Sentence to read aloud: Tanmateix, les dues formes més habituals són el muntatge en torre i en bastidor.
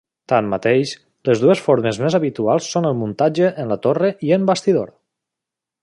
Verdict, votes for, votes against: accepted, 2, 0